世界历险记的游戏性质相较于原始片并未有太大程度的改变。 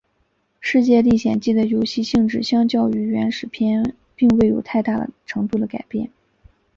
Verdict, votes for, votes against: accepted, 2, 0